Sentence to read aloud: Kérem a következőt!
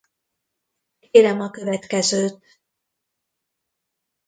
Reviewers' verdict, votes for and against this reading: rejected, 0, 2